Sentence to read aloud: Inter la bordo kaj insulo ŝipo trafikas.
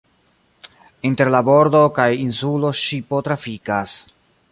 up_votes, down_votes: 0, 2